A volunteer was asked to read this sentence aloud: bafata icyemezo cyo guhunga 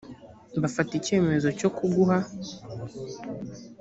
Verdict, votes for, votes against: rejected, 0, 2